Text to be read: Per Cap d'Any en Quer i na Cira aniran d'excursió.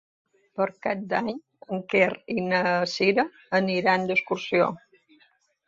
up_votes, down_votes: 2, 0